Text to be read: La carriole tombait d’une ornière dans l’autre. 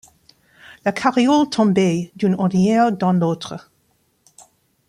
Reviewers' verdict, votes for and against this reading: rejected, 1, 2